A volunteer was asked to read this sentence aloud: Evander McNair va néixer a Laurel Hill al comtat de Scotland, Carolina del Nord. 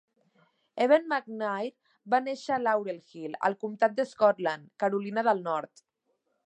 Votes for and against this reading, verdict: 2, 0, accepted